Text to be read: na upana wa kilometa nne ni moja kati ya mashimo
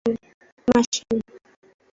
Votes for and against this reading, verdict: 0, 2, rejected